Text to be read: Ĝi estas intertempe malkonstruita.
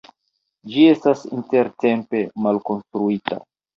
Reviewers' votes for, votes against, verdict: 2, 0, accepted